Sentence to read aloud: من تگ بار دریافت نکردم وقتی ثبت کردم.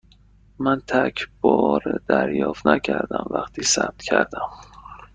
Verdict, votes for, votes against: rejected, 1, 2